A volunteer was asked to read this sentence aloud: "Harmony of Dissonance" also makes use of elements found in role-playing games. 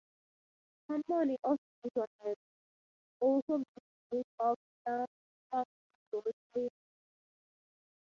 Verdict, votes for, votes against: rejected, 0, 6